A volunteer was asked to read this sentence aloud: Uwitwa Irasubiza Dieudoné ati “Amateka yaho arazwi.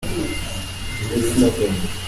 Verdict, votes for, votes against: rejected, 0, 2